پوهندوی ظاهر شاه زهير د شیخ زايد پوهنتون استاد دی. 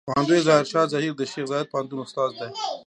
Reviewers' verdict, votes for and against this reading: accepted, 2, 0